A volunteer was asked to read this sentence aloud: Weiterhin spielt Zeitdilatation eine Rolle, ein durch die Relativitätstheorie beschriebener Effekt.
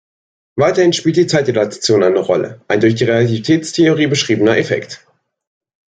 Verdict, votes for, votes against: rejected, 1, 2